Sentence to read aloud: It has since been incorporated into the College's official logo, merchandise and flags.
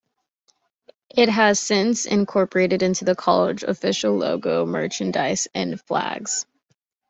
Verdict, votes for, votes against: rejected, 0, 2